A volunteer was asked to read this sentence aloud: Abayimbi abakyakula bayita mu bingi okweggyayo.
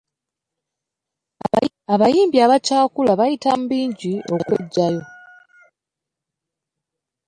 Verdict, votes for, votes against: rejected, 0, 2